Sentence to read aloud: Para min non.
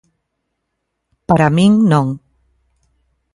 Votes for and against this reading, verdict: 2, 0, accepted